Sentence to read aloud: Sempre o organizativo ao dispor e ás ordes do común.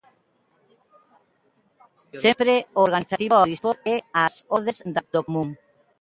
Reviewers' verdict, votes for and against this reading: rejected, 0, 2